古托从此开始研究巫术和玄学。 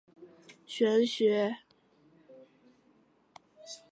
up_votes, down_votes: 0, 2